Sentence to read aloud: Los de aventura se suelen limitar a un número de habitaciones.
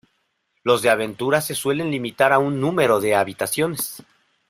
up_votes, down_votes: 2, 0